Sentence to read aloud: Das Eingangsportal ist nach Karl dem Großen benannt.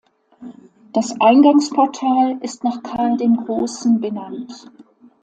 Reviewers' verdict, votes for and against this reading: accepted, 2, 0